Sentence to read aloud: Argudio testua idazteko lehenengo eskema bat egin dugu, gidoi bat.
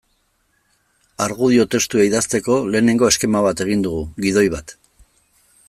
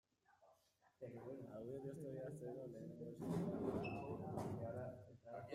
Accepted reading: first